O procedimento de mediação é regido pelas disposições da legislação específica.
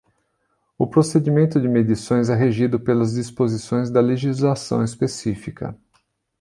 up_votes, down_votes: 1, 2